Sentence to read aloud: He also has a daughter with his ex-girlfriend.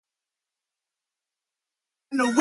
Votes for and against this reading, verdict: 0, 2, rejected